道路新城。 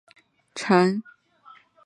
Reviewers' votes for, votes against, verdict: 0, 2, rejected